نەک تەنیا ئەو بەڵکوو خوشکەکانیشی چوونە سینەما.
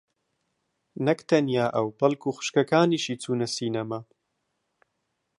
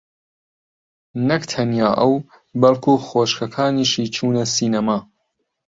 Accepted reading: first